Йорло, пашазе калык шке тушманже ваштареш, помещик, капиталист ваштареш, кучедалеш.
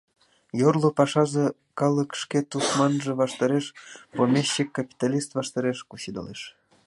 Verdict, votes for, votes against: accepted, 2, 1